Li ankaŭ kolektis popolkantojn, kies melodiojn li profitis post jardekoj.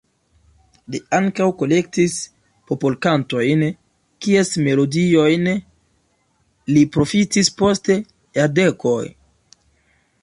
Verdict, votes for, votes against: rejected, 0, 2